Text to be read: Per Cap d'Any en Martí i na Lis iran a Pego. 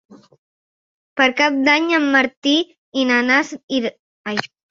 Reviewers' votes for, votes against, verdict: 1, 2, rejected